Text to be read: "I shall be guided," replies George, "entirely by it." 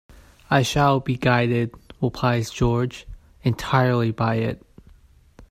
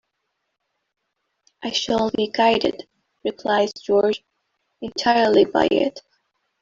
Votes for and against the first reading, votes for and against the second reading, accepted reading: 0, 2, 2, 0, second